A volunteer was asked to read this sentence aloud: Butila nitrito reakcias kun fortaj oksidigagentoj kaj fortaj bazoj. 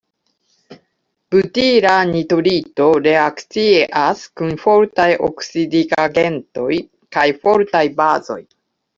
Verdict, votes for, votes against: rejected, 1, 2